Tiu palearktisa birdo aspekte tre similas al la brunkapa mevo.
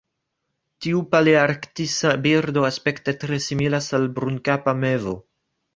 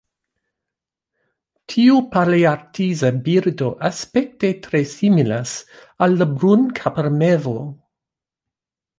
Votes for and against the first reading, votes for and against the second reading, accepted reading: 1, 2, 2, 1, second